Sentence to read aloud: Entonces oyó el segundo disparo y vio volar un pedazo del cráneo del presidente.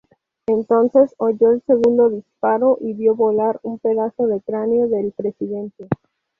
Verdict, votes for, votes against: rejected, 0, 2